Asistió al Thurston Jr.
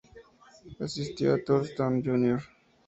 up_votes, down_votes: 0, 2